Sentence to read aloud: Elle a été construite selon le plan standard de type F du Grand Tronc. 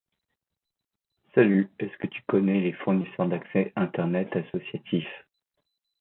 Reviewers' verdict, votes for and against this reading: rejected, 0, 2